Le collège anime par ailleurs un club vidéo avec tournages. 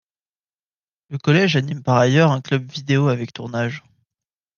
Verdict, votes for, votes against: accepted, 2, 0